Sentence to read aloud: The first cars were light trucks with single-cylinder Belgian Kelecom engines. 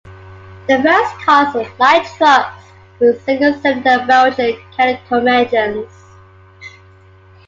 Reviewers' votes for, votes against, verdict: 0, 2, rejected